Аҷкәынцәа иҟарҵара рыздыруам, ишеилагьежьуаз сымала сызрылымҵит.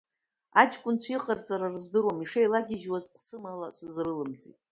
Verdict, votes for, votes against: accepted, 2, 0